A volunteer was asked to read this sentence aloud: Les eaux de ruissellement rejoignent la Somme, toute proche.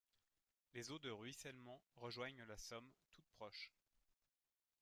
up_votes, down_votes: 1, 3